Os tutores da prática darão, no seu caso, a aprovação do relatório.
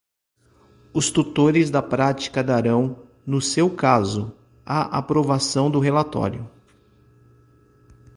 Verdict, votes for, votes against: accepted, 2, 0